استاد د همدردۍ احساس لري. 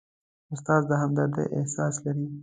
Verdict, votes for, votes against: accepted, 2, 0